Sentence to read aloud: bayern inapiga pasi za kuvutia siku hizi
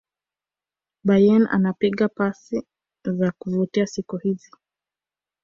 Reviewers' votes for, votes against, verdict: 0, 2, rejected